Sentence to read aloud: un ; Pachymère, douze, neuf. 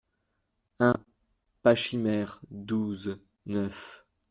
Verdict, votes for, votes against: accepted, 2, 1